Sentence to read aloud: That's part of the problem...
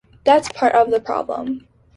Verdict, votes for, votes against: accepted, 2, 0